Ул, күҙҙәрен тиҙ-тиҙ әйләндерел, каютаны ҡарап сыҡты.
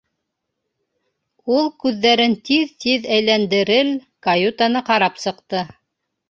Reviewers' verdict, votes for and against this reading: accepted, 2, 0